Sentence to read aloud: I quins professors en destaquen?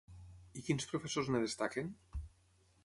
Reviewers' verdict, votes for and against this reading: rejected, 3, 3